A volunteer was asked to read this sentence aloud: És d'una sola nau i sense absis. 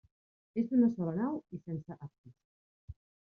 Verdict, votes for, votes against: rejected, 0, 2